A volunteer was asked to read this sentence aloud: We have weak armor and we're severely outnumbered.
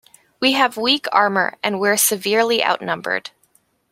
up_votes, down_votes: 2, 0